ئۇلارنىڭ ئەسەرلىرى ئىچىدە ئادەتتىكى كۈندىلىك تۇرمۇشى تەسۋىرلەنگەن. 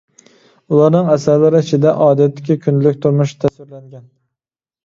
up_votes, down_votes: 2, 0